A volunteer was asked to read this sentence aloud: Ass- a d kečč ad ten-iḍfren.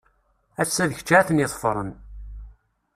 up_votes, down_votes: 2, 0